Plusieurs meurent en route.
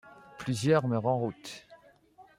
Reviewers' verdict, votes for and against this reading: accepted, 2, 1